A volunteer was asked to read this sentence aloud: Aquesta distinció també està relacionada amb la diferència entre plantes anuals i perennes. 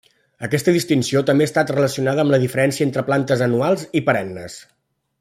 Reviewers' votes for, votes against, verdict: 3, 0, accepted